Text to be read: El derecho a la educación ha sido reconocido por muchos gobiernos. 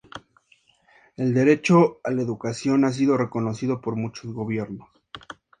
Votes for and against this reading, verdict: 2, 0, accepted